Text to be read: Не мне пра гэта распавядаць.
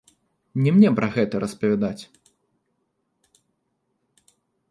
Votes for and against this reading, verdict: 2, 0, accepted